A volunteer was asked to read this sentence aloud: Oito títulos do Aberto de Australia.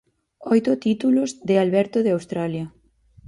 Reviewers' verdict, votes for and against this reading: rejected, 0, 6